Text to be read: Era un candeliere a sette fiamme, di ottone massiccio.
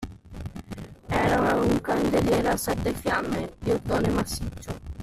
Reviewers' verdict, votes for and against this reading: rejected, 1, 2